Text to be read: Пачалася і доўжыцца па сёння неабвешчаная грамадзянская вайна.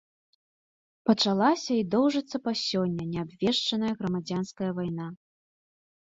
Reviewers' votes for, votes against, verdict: 2, 0, accepted